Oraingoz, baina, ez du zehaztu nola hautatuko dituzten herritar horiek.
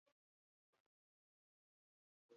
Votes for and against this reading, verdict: 0, 4, rejected